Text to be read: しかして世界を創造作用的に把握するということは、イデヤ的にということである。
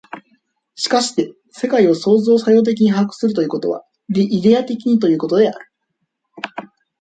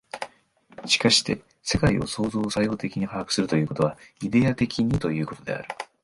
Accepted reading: second